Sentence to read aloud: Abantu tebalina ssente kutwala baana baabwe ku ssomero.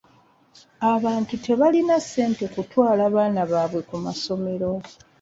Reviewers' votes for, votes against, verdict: 1, 2, rejected